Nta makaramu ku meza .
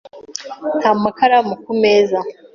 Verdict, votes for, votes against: accepted, 2, 0